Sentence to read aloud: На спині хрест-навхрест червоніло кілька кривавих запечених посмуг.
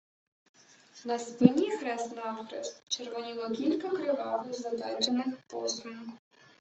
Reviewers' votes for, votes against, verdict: 0, 2, rejected